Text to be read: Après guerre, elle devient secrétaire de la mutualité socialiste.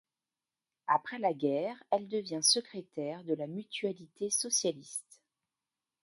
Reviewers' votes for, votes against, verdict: 1, 2, rejected